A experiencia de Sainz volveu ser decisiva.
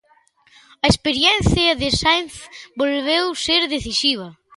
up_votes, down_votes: 2, 0